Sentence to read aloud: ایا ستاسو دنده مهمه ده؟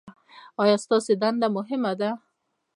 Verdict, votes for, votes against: rejected, 1, 2